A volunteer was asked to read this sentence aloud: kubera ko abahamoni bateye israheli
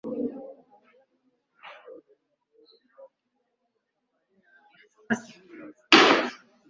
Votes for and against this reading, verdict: 0, 2, rejected